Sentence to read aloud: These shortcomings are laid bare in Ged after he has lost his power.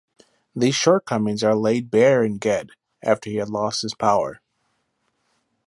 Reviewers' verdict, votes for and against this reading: rejected, 1, 3